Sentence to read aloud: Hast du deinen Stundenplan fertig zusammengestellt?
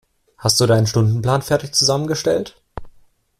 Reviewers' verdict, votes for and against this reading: accepted, 2, 0